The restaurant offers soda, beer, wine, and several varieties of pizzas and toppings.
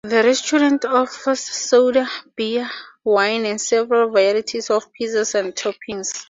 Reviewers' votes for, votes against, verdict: 0, 2, rejected